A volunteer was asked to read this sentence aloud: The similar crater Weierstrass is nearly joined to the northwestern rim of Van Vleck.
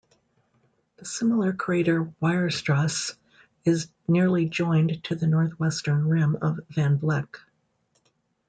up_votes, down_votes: 2, 1